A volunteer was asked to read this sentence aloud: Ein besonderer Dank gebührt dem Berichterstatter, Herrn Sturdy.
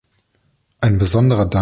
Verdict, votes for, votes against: rejected, 0, 2